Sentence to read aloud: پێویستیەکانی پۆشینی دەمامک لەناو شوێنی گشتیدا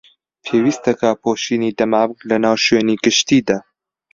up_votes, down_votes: 0, 2